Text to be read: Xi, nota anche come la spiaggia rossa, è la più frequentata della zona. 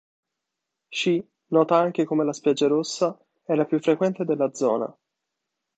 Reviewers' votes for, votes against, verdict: 0, 2, rejected